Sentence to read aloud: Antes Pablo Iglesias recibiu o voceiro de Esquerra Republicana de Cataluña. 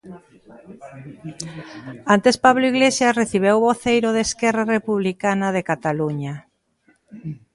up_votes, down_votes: 0, 2